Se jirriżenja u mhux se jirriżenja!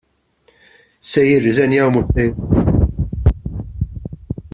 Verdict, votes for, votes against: rejected, 0, 2